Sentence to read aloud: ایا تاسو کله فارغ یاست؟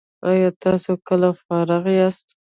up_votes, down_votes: 0, 2